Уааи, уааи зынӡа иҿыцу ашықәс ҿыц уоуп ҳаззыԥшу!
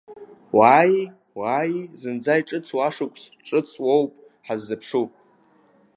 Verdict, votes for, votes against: rejected, 0, 2